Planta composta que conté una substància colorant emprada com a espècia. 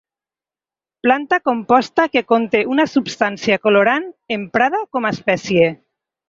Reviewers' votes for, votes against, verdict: 6, 2, accepted